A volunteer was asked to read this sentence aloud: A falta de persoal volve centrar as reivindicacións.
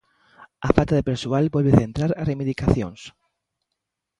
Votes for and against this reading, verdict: 2, 1, accepted